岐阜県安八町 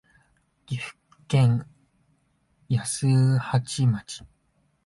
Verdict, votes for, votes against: accepted, 3, 2